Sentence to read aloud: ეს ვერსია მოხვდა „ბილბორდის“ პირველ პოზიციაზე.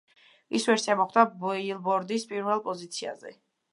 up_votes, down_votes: 0, 2